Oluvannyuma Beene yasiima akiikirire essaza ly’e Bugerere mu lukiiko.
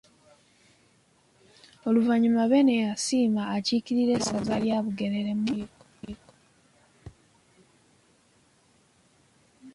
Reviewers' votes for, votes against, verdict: 0, 2, rejected